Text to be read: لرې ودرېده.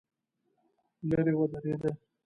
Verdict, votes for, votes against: rejected, 0, 2